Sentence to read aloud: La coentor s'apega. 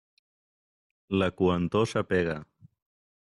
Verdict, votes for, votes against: accepted, 2, 0